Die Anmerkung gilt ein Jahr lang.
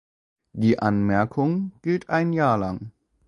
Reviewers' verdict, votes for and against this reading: accepted, 2, 1